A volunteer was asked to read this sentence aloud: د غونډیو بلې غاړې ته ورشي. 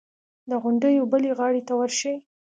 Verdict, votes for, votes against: accepted, 2, 0